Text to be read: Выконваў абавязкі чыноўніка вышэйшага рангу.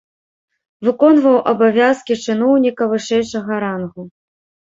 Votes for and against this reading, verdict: 2, 0, accepted